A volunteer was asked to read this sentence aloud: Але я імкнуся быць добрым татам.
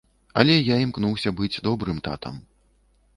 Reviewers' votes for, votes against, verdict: 1, 2, rejected